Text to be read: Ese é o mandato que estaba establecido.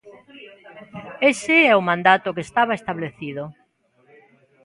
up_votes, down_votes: 2, 0